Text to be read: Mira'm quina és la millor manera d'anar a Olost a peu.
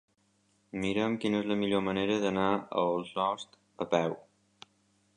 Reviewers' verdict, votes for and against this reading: rejected, 0, 2